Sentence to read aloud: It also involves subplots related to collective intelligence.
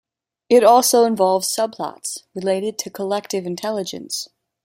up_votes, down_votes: 2, 0